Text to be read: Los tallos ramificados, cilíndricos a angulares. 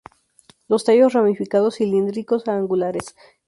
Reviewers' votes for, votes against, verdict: 0, 2, rejected